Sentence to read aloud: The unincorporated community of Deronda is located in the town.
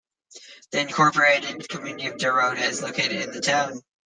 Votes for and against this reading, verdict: 0, 2, rejected